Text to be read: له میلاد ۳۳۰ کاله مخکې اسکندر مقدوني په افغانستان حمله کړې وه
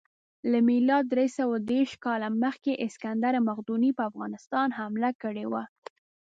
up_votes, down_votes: 0, 2